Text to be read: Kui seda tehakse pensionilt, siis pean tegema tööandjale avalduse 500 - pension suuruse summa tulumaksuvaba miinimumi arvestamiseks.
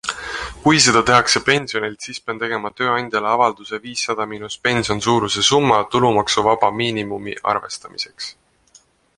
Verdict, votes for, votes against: rejected, 0, 2